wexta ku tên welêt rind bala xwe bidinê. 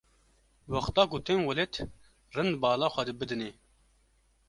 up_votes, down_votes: 0, 2